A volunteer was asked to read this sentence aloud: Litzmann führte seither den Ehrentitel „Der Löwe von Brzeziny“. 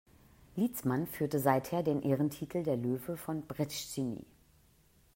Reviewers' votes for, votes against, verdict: 1, 2, rejected